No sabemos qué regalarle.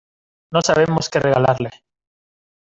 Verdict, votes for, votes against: accepted, 2, 0